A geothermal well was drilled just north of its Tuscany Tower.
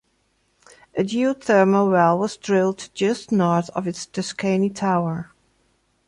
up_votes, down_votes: 0, 2